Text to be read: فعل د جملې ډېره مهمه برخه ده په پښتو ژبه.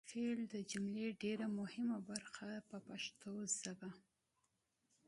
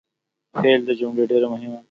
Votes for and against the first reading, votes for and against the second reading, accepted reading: 2, 1, 1, 2, first